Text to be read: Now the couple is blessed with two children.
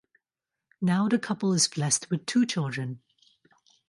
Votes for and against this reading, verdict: 2, 0, accepted